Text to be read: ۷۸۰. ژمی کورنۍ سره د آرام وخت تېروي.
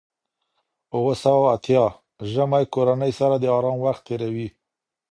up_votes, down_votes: 0, 2